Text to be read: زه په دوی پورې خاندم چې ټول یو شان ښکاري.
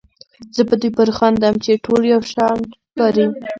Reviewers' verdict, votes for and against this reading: rejected, 1, 2